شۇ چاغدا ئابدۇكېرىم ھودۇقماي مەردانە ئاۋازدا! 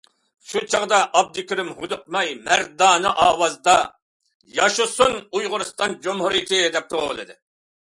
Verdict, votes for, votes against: rejected, 0, 2